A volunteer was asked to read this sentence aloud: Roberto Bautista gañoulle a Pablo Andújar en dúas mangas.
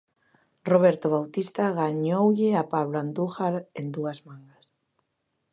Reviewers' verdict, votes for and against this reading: accepted, 2, 0